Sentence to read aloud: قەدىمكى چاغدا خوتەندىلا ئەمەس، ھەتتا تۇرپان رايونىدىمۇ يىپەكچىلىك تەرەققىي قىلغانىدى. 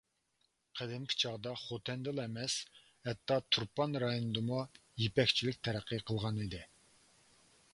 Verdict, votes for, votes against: accepted, 2, 0